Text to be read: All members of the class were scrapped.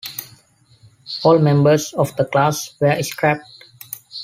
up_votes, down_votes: 2, 0